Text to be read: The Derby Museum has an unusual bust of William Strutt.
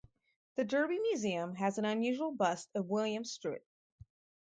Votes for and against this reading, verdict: 2, 2, rejected